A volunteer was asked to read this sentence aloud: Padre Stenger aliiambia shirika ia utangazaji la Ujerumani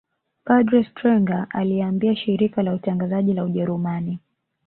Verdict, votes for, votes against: rejected, 0, 2